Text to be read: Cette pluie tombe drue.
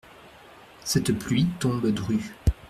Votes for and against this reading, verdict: 2, 0, accepted